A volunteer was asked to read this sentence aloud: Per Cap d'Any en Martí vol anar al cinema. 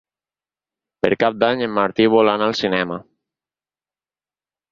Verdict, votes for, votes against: accepted, 6, 0